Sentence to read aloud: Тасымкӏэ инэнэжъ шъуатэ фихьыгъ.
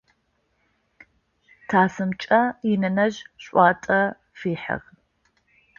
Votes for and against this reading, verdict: 0, 2, rejected